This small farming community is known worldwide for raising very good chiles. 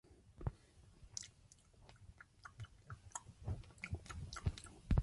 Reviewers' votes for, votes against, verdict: 0, 2, rejected